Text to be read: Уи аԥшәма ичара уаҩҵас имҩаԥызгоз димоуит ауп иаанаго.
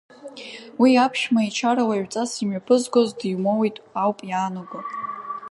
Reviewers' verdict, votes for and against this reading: accepted, 2, 0